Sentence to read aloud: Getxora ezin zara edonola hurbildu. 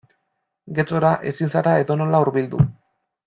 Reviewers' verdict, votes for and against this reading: accepted, 2, 0